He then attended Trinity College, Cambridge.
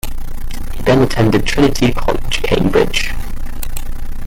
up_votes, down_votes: 2, 0